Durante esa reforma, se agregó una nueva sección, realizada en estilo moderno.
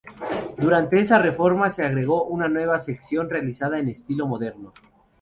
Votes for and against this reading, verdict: 0, 2, rejected